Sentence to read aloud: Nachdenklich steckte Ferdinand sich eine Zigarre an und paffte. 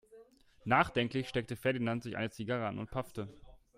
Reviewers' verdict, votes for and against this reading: rejected, 0, 2